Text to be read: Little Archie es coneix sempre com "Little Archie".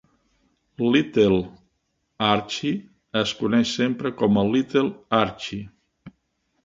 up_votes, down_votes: 1, 2